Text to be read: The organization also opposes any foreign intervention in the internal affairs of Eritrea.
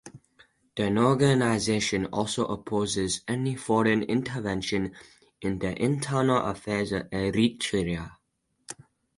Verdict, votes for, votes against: rejected, 0, 4